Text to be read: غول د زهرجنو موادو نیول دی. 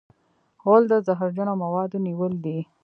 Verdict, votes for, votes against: rejected, 1, 2